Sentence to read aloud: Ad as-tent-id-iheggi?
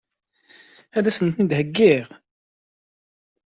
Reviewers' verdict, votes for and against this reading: rejected, 1, 2